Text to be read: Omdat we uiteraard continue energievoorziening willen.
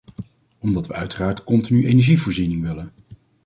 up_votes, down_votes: 2, 0